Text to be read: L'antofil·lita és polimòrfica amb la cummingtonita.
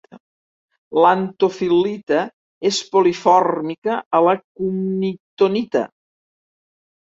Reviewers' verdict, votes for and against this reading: rejected, 0, 2